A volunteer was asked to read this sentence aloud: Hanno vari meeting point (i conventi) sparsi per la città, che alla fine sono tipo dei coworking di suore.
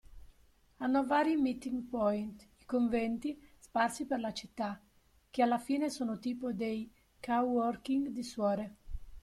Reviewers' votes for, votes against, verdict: 1, 2, rejected